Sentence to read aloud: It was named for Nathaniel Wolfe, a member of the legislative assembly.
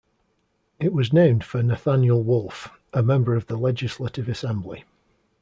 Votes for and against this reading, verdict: 2, 0, accepted